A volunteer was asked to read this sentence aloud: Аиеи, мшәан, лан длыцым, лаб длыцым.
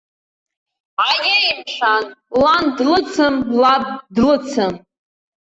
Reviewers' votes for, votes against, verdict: 1, 2, rejected